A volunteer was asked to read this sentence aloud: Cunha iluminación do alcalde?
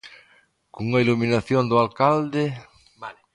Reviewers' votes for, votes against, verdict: 1, 2, rejected